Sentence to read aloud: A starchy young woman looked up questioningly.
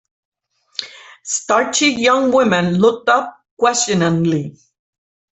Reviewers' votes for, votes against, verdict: 1, 2, rejected